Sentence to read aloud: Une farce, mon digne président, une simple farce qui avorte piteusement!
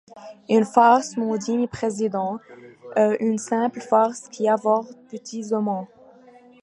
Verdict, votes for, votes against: rejected, 0, 2